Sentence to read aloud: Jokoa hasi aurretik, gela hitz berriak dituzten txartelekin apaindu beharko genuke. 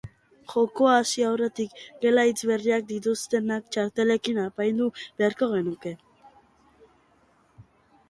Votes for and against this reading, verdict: 0, 2, rejected